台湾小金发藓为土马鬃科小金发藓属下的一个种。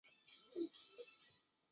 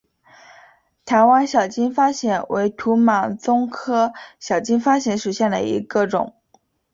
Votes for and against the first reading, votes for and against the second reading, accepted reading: 0, 3, 5, 0, second